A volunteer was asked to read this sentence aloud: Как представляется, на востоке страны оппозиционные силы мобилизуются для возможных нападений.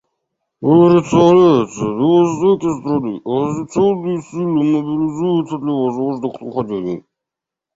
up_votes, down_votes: 1, 2